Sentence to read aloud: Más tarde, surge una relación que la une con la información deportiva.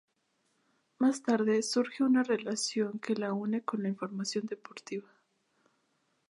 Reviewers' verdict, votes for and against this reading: accepted, 2, 0